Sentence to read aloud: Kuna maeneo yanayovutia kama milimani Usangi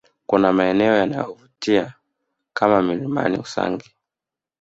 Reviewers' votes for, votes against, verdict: 1, 2, rejected